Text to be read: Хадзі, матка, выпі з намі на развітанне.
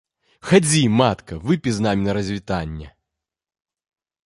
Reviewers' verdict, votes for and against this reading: rejected, 1, 2